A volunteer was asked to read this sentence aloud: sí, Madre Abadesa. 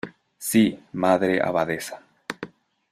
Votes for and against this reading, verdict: 2, 0, accepted